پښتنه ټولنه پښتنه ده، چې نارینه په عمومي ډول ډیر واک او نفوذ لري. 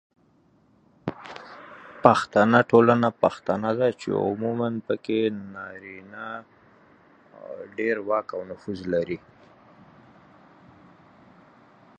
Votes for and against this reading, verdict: 0, 2, rejected